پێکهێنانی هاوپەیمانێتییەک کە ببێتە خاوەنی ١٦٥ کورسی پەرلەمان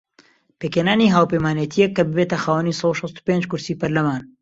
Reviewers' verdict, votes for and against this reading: rejected, 0, 2